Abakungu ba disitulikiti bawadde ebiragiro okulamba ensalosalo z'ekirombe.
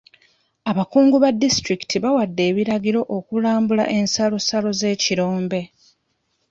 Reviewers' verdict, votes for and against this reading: accepted, 2, 1